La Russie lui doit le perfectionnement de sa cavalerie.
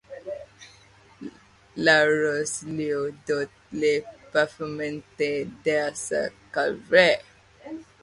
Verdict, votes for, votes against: rejected, 0, 2